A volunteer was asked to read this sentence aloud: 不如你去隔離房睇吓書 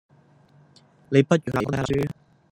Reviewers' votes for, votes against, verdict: 2, 0, accepted